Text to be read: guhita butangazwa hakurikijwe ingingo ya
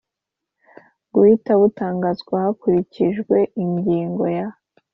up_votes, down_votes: 2, 0